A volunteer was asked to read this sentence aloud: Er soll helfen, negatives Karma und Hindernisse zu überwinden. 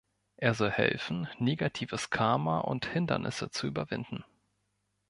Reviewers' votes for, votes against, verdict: 4, 0, accepted